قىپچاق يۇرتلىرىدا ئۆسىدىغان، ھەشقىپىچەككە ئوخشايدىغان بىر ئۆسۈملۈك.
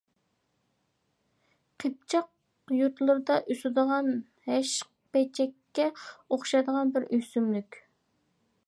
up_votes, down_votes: 0, 2